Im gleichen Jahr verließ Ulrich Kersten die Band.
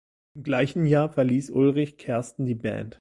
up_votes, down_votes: 1, 2